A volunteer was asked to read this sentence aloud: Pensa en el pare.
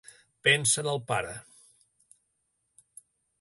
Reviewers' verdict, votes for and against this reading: accepted, 2, 0